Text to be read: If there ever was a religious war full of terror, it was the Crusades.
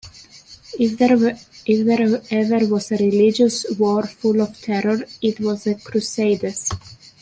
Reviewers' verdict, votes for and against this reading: rejected, 0, 2